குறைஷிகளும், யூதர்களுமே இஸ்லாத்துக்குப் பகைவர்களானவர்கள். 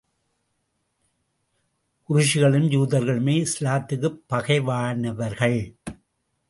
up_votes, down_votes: 0, 3